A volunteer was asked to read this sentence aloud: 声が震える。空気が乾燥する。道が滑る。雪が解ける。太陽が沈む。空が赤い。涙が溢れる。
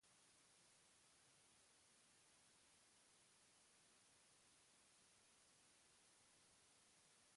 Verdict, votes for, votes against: rejected, 0, 2